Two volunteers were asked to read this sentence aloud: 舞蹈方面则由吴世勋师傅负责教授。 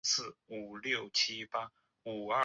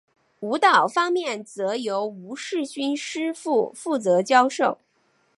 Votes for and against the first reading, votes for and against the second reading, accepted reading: 0, 2, 6, 0, second